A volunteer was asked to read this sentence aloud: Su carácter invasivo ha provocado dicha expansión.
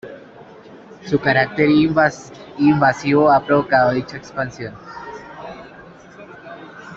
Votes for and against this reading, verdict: 1, 2, rejected